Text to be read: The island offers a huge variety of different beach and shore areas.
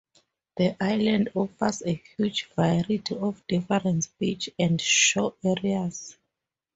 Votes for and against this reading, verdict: 0, 2, rejected